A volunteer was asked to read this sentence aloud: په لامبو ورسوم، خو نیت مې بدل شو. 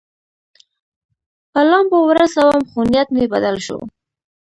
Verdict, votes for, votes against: accepted, 2, 0